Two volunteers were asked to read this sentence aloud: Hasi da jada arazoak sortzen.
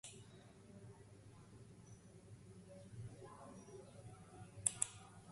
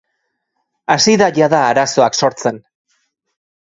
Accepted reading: second